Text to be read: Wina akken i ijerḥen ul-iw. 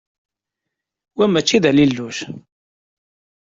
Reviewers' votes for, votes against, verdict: 0, 2, rejected